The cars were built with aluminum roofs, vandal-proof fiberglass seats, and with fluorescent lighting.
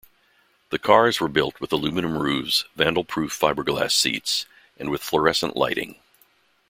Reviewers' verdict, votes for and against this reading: accepted, 2, 0